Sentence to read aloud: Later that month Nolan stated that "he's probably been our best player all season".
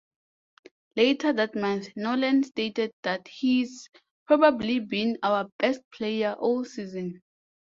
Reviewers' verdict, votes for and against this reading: accepted, 2, 0